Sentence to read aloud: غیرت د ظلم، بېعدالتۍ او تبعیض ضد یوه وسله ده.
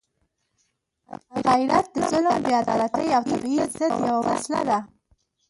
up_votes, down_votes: 1, 2